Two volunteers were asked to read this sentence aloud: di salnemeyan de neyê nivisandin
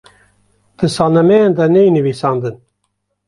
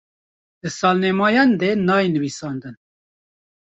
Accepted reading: first